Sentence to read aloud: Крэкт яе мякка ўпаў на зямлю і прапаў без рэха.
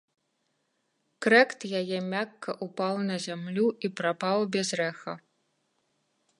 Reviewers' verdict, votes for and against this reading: rejected, 1, 2